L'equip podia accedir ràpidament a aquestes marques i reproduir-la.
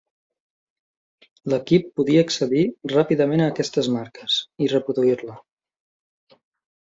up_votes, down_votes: 3, 0